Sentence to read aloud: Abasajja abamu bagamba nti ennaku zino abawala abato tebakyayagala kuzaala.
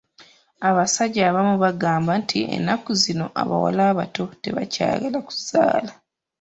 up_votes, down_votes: 2, 0